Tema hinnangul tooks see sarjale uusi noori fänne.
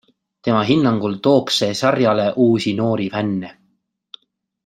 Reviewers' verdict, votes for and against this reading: accepted, 2, 1